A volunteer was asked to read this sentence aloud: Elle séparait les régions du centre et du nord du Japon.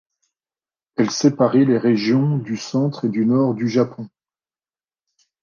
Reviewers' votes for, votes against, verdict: 2, 0, accepted